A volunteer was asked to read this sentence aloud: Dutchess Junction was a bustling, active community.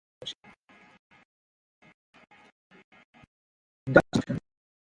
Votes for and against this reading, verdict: 0, 2, rejected